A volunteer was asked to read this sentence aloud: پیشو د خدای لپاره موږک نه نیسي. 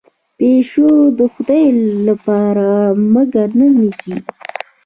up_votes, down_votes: 2, 0